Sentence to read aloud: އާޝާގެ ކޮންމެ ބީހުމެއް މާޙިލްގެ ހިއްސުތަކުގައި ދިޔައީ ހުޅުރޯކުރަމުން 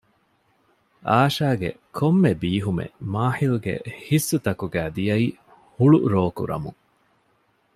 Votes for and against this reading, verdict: 2, 0, accepted